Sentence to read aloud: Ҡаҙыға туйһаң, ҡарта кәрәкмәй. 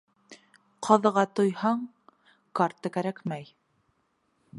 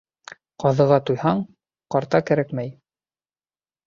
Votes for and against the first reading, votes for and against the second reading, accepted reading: 1, 2, 2, 0, second